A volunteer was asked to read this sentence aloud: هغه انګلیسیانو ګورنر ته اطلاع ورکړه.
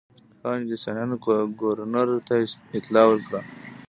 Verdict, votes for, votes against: rejected, 0, 2